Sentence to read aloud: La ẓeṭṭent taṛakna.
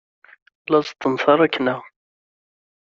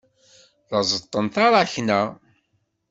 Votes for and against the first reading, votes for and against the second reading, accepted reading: 2, 0, 1, 2, first